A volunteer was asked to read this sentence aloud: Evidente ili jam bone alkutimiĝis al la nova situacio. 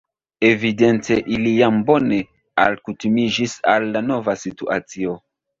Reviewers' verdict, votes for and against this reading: accepted, 2, 1